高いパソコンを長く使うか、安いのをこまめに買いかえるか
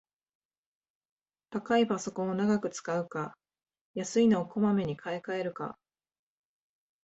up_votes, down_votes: 3, 0